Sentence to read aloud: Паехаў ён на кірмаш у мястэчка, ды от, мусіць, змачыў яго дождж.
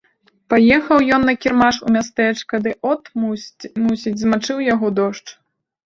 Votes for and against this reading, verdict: 0, 2, rejected